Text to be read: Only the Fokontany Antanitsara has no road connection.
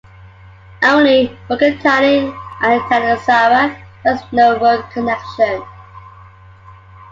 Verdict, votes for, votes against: rejected, 1, 2